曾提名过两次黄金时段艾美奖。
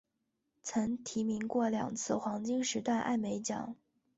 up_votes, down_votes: 2, 0